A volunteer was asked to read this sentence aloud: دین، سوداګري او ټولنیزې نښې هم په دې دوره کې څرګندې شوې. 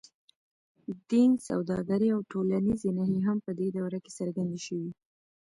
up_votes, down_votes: 1, 2